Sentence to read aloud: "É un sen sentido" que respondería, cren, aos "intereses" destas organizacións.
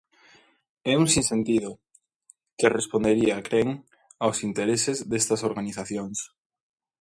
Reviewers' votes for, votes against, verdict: 1, 2, rejected